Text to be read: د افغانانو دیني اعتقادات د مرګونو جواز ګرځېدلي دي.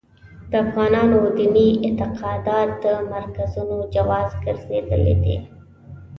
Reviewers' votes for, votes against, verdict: 0, 2, rejected